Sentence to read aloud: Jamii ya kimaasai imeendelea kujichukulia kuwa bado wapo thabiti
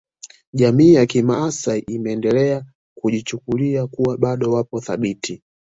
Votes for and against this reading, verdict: 2, 1, accepted